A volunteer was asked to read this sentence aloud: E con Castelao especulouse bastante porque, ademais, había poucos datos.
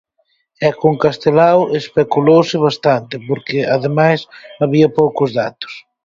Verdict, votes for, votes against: accepted, 4, 0